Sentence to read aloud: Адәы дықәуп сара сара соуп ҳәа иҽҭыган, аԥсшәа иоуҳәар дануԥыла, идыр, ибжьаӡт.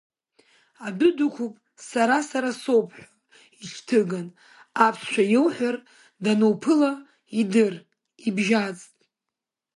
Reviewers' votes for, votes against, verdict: 1, 2, rejected